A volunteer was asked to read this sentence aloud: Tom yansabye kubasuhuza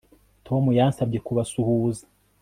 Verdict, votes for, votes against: accepted, 2, 0